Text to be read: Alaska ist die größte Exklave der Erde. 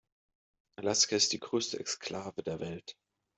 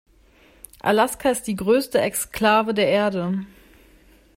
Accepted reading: second